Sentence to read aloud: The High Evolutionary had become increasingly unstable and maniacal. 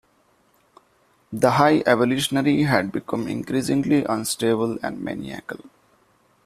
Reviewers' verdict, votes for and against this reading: rejected, 0, 2